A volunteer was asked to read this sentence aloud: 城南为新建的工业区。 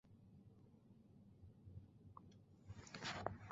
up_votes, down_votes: 0, 3